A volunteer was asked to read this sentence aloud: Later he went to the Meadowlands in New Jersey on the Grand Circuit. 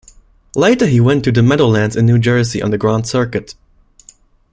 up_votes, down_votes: 2, 0